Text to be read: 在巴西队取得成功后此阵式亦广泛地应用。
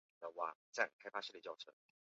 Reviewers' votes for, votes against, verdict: 0, 5, rejected